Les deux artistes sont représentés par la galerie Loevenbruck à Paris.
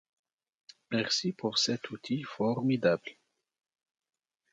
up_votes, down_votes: 1, 2